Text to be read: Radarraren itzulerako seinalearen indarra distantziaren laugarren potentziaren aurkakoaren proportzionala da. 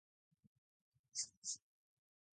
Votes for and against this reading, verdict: 0, 4, rejected